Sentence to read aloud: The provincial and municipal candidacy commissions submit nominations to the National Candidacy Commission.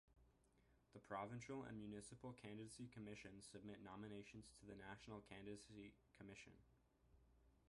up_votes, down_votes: 0, 2